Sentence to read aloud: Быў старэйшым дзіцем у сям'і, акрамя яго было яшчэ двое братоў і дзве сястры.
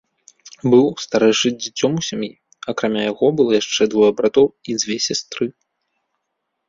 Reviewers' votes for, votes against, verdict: 1, 2, rejected